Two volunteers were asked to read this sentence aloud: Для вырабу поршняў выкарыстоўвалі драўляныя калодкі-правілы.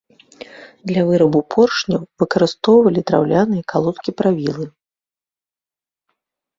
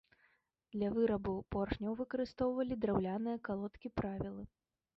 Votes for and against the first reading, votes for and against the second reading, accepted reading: 2, 0, 0, 3, first